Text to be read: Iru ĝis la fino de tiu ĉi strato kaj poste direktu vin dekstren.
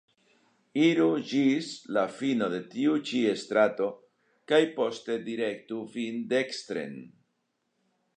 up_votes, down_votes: 1, 2